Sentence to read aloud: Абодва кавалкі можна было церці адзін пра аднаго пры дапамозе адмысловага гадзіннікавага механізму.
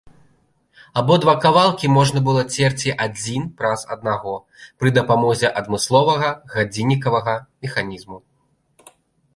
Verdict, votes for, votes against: rejected, 0, 2